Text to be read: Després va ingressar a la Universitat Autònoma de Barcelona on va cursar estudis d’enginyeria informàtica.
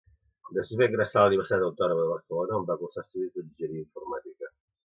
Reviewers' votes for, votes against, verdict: 0, 2, rejected